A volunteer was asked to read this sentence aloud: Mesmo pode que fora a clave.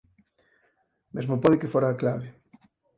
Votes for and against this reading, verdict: 4, 2, accepted